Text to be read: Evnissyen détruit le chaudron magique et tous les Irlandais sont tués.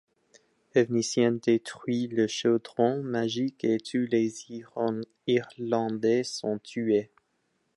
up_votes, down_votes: 0, 2